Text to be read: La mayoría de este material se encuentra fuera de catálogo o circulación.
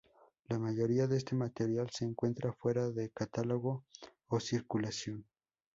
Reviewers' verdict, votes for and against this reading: accepted, 2, 0